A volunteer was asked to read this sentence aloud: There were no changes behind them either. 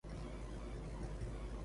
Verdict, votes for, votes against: rejected, 0, 2